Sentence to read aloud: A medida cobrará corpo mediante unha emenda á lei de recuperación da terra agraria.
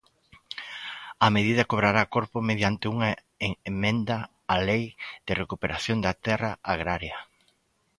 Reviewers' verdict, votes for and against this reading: rejected, 0, 2